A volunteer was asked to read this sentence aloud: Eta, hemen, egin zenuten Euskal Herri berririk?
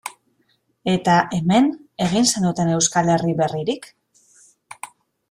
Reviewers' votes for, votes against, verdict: 2, 0, accepted